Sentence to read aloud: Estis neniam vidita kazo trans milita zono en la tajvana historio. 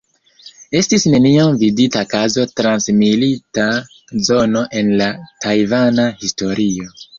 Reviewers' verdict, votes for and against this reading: accepted, 2, 0